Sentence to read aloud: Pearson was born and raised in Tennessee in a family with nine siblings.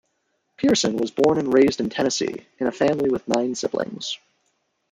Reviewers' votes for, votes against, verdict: 1, 2, rejected